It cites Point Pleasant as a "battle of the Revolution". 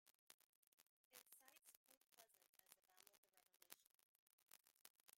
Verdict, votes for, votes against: rejected, 0, 2